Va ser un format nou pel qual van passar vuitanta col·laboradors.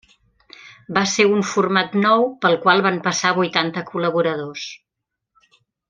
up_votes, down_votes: 3, 0